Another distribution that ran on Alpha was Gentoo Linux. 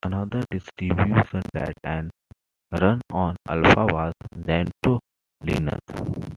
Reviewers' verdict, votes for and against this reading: accepted, 3, 1